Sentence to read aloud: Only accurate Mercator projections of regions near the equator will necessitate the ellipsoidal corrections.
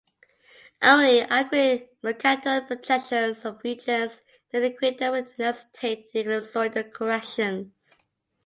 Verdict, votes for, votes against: rejected, 0, 2